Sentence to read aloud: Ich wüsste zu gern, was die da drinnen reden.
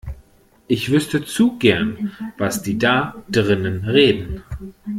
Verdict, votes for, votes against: accepted, 2, 0